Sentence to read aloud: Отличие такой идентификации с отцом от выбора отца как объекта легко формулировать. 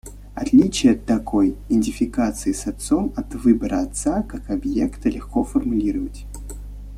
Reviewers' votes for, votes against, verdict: 1, 2, rejected